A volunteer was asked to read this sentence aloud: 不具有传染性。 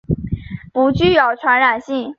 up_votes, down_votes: 2, 1